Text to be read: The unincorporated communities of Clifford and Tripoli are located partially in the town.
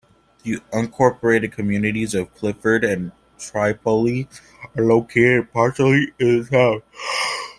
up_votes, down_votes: 0, 3